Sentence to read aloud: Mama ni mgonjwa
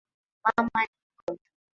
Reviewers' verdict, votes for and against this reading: rejected, 0, 3